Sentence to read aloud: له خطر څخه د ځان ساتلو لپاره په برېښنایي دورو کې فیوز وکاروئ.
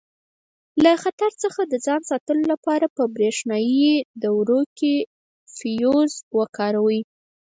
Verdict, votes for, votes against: rejected, 2, 4